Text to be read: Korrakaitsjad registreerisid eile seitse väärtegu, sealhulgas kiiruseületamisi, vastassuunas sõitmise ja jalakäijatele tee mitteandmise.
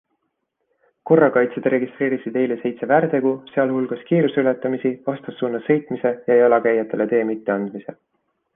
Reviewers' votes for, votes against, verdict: 2, 0, accepted